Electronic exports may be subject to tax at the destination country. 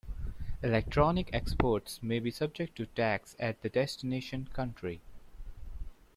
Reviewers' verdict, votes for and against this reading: accepted, 2, 0